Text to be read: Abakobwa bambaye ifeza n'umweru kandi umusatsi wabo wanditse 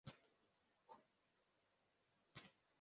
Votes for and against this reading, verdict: 0, 2, rejected